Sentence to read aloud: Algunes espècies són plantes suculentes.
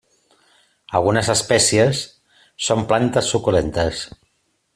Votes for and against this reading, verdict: 3, 0, accepted